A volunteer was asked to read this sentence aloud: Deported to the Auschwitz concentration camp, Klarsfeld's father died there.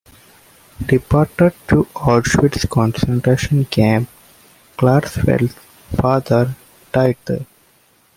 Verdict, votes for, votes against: rejected, 0, 2